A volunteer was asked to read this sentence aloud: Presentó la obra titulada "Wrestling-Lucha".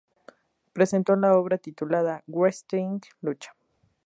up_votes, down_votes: 0, 2